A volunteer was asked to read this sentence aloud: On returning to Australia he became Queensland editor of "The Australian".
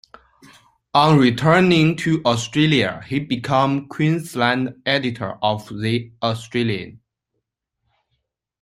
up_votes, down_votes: 1, 2